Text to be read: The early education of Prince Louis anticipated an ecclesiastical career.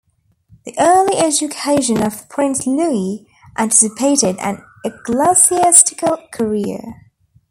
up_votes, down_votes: 2, 1